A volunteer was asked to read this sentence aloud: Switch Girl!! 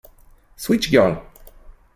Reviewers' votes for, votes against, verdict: 2, 0, accepted